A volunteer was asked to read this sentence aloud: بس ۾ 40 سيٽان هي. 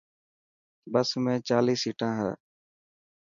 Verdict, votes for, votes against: rejected, 0, 2